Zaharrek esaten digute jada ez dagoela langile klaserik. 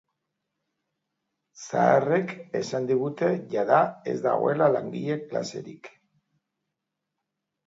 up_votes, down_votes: 1, 2